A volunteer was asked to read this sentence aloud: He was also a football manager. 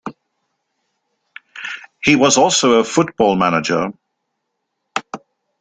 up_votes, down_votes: 2, 0